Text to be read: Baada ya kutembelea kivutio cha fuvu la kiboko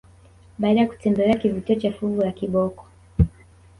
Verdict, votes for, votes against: accepted, 5, 0